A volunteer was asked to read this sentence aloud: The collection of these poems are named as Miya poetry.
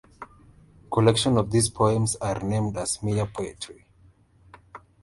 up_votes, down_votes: 0, 2